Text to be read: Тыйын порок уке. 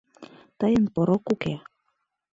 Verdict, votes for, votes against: accepted, 2, 0